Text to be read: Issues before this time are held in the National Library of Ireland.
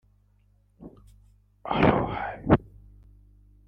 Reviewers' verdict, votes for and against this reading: rejected, 0, 2